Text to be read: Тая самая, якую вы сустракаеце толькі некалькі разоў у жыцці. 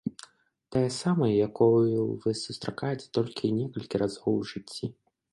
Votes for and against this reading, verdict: 1, 2, rejected